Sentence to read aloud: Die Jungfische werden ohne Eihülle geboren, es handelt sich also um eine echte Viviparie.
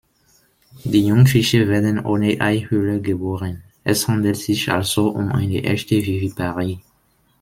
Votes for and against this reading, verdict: 2, 0, accepted